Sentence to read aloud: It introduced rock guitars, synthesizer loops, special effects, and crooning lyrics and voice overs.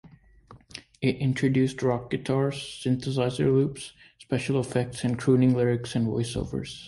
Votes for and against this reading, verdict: 2, 0, accepted